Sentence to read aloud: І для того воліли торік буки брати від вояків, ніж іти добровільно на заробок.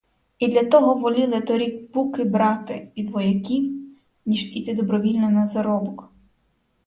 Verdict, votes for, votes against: accepted, 4, 0